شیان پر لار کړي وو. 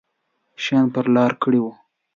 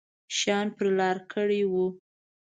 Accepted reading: first